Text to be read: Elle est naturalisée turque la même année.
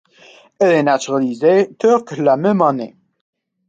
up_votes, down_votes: 2, 0